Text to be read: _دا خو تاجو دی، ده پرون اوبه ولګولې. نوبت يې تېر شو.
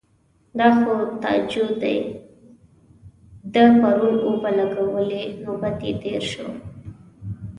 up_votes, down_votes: 2, 0